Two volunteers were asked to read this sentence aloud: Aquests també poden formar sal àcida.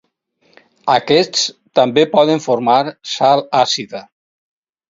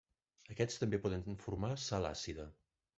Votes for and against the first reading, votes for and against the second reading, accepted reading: 4, 0, 0, 2, first